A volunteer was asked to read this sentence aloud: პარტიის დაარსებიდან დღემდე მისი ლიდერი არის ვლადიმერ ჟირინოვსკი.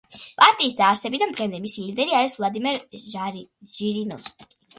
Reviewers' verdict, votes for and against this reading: accepted, 2, 1